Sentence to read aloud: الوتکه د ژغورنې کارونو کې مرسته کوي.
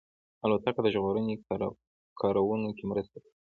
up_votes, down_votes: 2, 1